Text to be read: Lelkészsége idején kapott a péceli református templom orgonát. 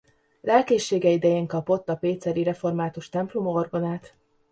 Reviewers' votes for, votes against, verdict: 2, 0, accepted